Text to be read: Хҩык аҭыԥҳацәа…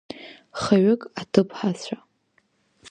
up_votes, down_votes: 0, 2